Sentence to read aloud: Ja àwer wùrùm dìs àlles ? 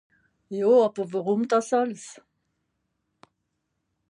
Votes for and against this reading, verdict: 0, 2, rejected